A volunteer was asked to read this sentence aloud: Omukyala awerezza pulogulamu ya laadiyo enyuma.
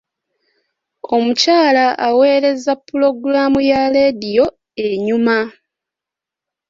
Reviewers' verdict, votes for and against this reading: rejected, 0, 2